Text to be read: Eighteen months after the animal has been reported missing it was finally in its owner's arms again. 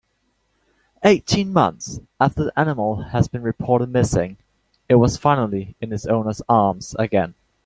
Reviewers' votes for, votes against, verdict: 3, 0, accepted